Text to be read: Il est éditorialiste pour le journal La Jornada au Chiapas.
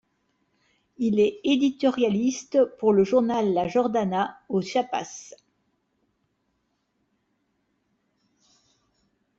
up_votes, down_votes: 1, 2